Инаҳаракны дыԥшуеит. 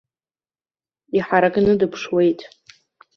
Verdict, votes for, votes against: rejected, 1, 2